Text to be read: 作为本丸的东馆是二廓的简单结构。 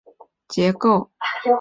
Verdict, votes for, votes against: rejected, 0, 4